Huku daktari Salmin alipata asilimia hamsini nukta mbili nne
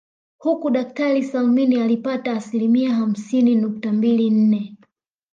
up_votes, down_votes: 1, 2